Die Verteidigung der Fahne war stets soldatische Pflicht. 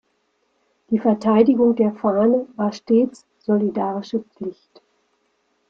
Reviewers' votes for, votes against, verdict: 1, 2, rejected